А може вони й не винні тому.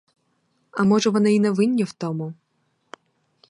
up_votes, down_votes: 2, 4